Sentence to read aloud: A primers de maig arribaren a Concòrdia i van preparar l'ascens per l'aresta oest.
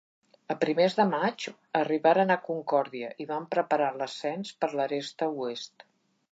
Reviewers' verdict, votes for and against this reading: accepted, 2, 0